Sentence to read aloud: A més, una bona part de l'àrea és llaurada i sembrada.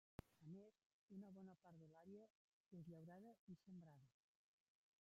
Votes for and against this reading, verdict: 0, 2, rejected